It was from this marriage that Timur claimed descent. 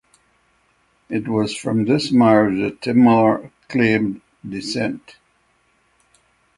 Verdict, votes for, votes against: accepted, 6, 0